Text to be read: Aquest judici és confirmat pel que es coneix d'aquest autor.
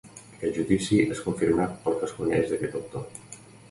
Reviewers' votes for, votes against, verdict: 2, 1, accepted